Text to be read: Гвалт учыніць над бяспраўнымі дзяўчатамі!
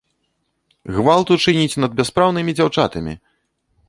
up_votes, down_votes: 2, 0